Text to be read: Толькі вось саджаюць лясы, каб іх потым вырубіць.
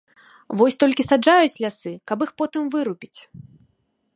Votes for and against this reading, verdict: 1, 2, rejected